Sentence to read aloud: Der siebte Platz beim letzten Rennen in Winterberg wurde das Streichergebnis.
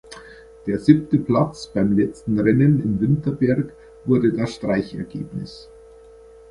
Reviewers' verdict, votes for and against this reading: accepted, 2, 0